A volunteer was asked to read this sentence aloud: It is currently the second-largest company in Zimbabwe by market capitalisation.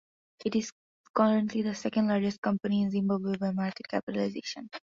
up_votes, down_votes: 3, 0